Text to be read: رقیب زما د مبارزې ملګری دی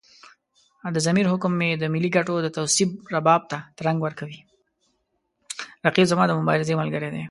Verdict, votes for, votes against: rejected, 1, 3